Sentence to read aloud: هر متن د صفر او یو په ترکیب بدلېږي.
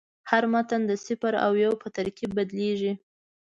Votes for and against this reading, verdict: 2, 1, accepted